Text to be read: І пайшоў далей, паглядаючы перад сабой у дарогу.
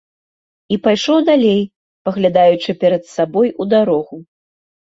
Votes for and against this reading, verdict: 2, 0, accepted